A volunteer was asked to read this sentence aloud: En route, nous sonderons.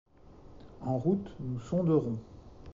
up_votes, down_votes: 2, 0